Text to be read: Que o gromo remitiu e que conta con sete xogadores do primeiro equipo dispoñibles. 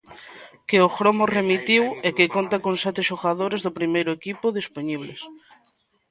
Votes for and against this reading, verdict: 1, 2, rejected